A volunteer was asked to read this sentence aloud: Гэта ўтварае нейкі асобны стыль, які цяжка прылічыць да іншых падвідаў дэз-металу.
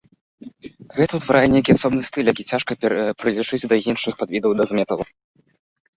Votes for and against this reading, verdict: 2, 0, accepted